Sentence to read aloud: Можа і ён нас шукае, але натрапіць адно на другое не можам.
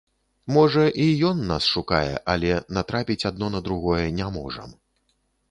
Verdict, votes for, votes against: accepted, 2, 0